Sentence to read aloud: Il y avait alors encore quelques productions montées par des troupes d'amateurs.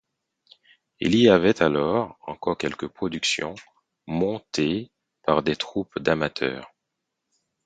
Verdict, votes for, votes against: accepted, 4, 0